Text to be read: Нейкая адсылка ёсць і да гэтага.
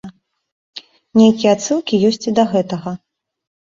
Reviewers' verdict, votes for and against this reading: rejected, 1, 2